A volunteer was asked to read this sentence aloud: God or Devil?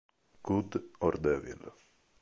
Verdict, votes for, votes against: rejected, 1, 2